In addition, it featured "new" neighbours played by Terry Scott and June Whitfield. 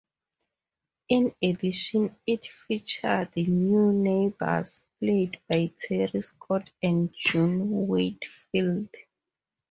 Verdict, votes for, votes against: accepted, 2, 0